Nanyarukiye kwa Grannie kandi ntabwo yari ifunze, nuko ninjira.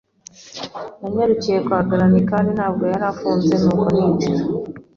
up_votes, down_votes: 2, 0